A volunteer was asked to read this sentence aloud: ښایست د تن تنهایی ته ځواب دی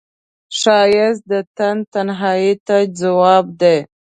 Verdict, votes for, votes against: rejected, 1, 2